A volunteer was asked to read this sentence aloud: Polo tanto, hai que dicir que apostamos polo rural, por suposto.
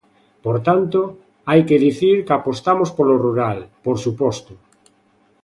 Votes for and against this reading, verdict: 0, 2, rejected